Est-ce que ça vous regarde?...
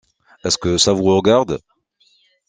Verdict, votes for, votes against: accepted, 2, 1